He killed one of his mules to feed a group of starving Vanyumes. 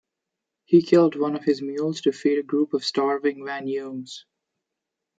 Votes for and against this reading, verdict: 2, 0, accepted